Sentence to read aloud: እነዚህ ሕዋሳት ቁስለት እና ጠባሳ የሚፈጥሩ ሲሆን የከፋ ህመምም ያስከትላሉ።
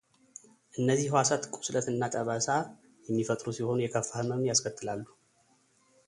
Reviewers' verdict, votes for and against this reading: accepted, 2, 0